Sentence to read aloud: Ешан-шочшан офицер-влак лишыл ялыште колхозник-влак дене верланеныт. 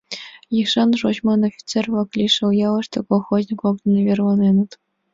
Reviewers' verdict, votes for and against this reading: accepted, 2, 1